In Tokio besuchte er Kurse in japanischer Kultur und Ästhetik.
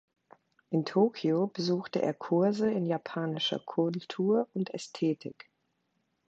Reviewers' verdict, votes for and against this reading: accepted, 2, 1